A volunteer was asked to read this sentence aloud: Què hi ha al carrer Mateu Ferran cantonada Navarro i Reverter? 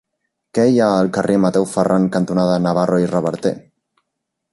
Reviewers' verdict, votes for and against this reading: accepted, 3, 0